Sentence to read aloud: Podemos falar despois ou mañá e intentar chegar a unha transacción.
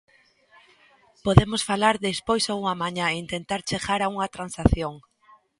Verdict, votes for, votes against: rejected, 0, 2